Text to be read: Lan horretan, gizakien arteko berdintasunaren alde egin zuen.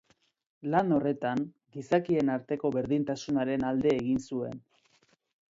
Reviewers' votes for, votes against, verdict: 2, 0, accepted